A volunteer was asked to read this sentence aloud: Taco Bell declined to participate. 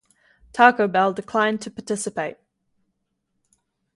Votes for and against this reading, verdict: 2, 0, accepted